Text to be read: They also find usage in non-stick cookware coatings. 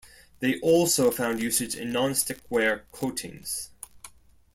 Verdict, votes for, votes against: rejected, 0, 2